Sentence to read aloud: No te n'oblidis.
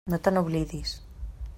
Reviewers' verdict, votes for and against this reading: accepted, 3, 0